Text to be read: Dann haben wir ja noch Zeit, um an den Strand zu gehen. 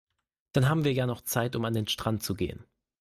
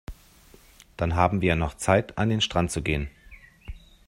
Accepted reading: first